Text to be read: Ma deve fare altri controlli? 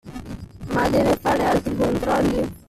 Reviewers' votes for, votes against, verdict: 1, 2, rejected